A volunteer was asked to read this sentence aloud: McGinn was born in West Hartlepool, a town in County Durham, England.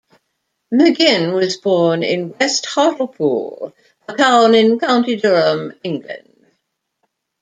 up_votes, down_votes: 1, 2